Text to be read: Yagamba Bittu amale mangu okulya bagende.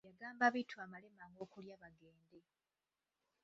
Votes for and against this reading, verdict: 0, 2, rejected